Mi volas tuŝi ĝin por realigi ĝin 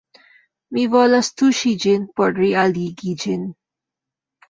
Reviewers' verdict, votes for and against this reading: accepted, 2, 0